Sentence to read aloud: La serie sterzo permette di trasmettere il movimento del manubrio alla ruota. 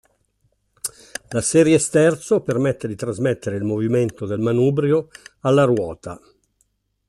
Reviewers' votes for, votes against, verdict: 2, 0, accepted